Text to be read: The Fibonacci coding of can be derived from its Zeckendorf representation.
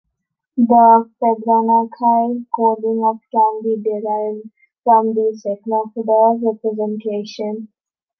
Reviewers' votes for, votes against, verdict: 1, 2, rejected